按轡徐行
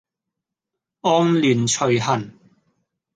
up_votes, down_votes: 0, 2